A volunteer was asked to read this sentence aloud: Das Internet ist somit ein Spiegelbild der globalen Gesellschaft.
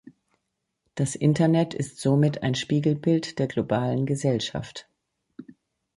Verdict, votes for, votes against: accepted, 2, 0